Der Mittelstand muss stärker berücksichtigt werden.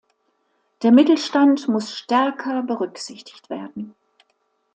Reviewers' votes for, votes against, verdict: 2, 1, accepted